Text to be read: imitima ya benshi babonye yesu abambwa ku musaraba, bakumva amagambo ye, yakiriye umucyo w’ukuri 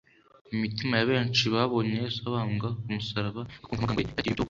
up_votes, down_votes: 1, 2